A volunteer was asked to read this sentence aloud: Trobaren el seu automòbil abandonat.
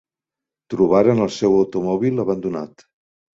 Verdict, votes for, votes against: accepted, 3, 0